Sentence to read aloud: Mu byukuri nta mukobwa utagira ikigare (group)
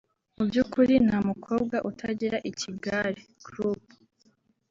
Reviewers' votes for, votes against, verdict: 2, 1, accepted